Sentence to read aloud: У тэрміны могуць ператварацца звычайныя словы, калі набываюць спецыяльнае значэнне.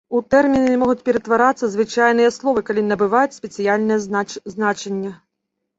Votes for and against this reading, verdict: 0, 2, rejected